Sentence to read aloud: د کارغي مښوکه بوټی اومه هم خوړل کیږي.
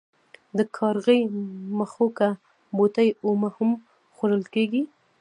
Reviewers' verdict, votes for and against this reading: accepted, 2, 0